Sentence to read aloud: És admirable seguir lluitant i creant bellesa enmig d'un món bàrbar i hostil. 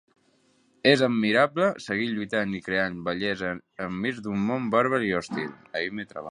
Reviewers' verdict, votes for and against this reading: rejected, 0, 2